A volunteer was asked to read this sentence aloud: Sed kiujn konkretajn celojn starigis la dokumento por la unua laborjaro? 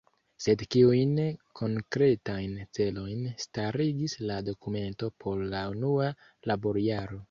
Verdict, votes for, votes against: rejected, 0, 2